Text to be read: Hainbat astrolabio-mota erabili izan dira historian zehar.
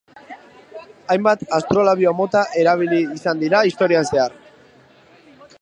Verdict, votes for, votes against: rejected, 1, 2